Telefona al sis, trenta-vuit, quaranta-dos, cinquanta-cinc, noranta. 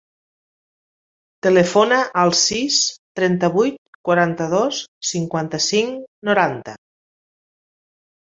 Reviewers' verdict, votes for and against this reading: accepted, 3, 0